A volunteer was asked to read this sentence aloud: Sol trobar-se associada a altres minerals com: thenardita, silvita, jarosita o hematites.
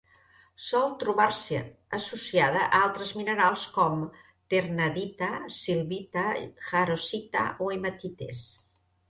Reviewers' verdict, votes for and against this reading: rejected, 1, 2